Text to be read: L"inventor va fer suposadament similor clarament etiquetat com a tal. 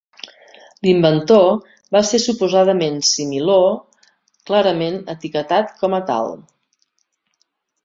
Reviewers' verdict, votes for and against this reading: rejected, 0, 2